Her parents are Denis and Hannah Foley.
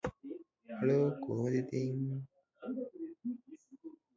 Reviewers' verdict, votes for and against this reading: rejected, 0, 2